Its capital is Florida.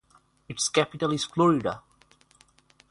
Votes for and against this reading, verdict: 6, 0, accepted